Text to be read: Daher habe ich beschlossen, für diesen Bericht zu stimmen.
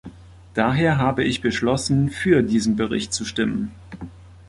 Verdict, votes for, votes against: accepted, 2, 0